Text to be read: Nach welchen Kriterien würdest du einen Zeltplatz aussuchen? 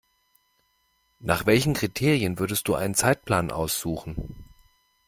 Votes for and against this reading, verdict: 0, 2, rejected